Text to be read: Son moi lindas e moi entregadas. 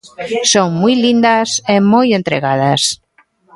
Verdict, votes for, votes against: accepted, 2, 0